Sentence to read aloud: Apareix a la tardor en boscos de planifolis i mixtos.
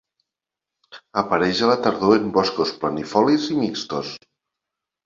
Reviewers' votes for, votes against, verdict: 1, 2, rejected